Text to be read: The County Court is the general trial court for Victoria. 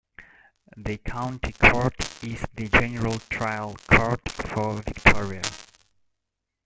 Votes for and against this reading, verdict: 0, 2, rejected